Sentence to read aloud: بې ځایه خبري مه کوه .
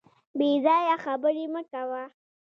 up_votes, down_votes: 2, 1